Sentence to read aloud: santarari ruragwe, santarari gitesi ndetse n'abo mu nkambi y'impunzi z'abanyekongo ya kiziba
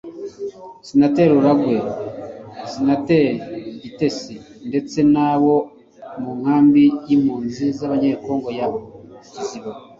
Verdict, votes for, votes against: rejected, 1, 3